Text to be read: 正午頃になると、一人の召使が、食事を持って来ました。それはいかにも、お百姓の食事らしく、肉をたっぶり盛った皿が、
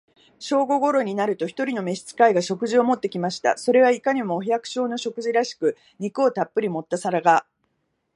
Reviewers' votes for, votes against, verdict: 2, 0, accepted